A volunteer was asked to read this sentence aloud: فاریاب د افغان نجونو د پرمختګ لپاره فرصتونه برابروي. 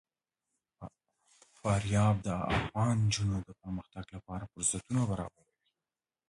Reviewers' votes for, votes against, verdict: 0, 2, rejected